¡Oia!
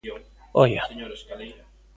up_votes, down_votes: 0, 2